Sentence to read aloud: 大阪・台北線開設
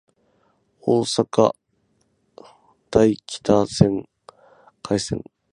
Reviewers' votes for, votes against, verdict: 0, 12, rejected